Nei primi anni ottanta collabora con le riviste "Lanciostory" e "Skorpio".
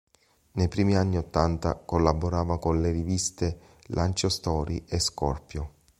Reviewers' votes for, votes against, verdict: 0, 2, rejected